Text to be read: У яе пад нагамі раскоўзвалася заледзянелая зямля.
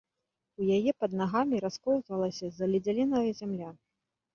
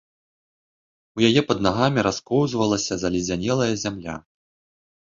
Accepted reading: second